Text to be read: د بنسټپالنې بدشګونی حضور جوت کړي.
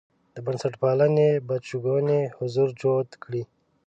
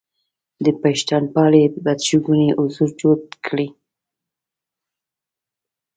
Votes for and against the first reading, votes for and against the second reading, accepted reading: 2, 0, 0, 2, first